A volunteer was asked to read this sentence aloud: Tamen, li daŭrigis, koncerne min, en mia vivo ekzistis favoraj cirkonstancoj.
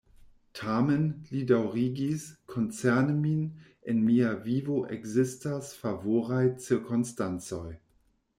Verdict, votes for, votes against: rejected, 1, 2